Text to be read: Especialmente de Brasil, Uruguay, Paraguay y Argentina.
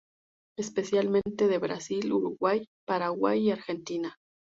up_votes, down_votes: 2, 0